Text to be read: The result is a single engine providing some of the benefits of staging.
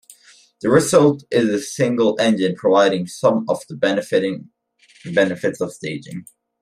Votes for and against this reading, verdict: 1, 2, rejected